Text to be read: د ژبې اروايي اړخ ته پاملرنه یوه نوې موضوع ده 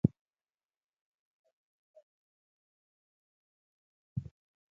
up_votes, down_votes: 1, 2